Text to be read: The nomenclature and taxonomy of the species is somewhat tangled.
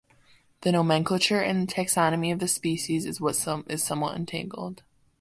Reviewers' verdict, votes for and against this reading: rejected, 0, 2